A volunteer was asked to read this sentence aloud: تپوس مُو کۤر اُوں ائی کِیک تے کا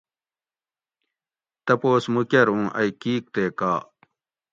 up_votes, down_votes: 2, 0